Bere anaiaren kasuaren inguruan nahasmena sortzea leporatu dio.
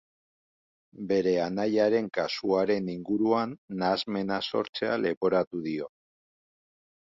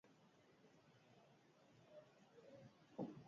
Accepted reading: first